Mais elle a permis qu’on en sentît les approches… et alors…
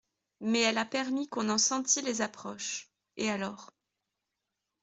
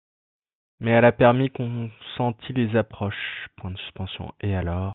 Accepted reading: first